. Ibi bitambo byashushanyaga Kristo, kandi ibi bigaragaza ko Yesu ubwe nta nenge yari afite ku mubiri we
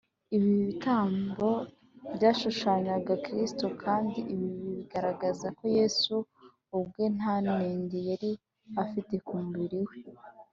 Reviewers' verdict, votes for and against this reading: accepted, 2, 0